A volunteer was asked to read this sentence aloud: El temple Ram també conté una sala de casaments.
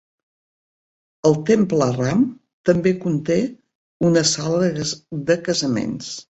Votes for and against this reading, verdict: 0, 2, rejected